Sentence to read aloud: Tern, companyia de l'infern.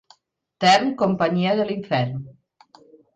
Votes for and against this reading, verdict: 2, 0, accepted